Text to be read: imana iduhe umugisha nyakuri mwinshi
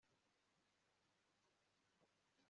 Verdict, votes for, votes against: rejected, 1, 2